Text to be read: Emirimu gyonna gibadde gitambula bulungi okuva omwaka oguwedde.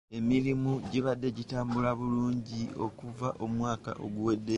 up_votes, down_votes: 1, 2